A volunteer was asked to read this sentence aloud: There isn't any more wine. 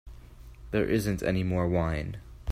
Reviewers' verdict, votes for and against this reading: accepted, 4, 0